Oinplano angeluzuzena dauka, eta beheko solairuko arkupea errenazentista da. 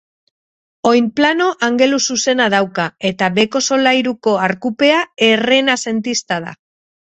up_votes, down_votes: 2, 2